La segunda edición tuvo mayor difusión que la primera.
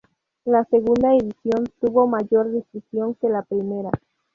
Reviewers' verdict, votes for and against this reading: rejected, 2, 2